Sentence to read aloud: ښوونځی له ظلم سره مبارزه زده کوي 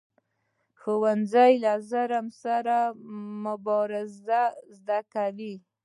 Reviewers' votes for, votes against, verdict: 2, 1, accepted